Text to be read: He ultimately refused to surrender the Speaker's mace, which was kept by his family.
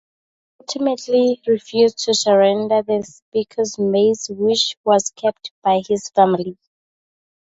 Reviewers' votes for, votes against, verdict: 0, 2, rejected